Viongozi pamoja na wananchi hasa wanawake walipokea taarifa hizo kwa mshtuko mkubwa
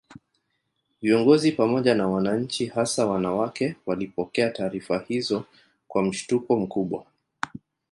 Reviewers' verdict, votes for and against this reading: rejected, 1, 2